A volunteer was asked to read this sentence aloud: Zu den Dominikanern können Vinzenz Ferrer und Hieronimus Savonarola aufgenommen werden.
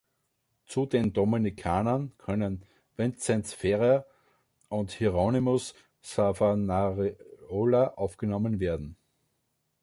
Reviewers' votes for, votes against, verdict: 0, 2, rejected